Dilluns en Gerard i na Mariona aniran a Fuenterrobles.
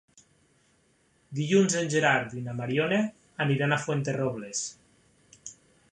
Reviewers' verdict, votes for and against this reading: accepted, 3, 0